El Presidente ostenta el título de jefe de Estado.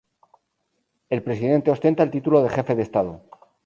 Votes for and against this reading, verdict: 2, 2, rejected